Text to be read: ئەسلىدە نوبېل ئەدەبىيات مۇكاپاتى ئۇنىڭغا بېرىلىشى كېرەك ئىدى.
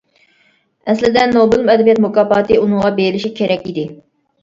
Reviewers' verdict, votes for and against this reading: rejected, 1, 2